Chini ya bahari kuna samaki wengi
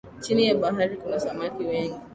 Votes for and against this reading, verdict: 2, 0, accepted